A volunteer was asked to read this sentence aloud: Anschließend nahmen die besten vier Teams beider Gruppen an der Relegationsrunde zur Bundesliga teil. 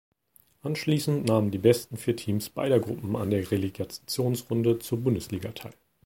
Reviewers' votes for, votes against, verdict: 1, 2, rejected